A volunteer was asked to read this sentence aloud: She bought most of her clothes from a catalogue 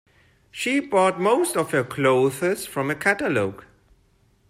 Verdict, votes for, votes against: rejected, 0, 2